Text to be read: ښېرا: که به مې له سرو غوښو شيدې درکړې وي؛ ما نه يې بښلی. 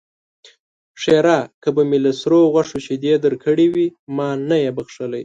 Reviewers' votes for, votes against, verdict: 2, 0, accepted